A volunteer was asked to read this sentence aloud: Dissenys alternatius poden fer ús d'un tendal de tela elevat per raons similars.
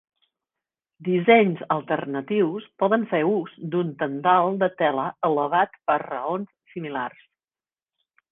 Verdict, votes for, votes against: accepted, 2, 0